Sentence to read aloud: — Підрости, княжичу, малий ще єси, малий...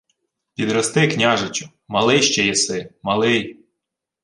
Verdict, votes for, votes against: accepted, 2, 0